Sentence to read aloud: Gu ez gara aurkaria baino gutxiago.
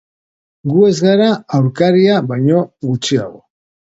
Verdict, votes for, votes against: accepted, 2, 0